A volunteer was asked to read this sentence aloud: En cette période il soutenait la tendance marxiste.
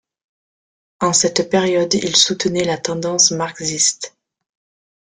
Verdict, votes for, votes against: rejected, 1, 2